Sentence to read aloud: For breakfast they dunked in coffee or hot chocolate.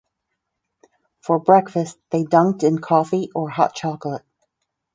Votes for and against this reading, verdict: 4, 0, accepted